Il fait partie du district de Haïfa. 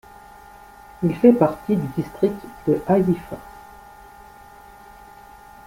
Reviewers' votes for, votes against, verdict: 2, 0, accepted